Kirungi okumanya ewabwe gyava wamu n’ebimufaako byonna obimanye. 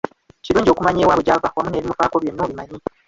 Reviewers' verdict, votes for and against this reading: accepted, 2, 1